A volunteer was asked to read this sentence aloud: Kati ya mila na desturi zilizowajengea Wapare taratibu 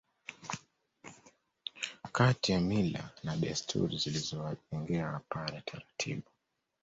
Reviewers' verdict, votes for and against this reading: accepted, 2, 0